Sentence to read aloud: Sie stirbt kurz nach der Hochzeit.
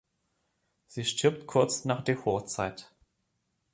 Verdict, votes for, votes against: rejected, 0, 2